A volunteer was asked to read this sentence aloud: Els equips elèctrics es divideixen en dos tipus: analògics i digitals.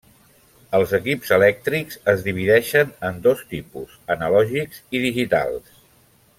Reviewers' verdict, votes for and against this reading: accepted, 3, 0